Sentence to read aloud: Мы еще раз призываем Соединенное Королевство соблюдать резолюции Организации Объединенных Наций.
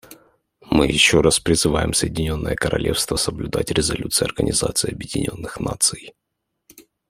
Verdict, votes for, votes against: accepted, 2, 0